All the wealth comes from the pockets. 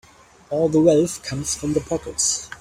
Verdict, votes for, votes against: accepted, 2, 0